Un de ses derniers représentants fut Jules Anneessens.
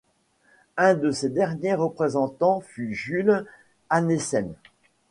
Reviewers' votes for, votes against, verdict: 2, 1, accepted